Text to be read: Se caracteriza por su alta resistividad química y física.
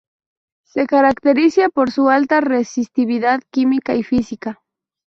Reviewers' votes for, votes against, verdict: 0, 2, rejected